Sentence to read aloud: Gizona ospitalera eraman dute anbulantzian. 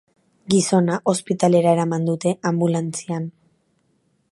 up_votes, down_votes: 2, 0